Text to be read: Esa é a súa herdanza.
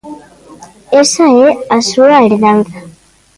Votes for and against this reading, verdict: 2, 0, accepted